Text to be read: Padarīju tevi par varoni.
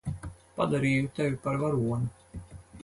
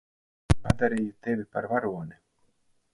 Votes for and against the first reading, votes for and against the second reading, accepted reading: 4, 0, 0, 4, first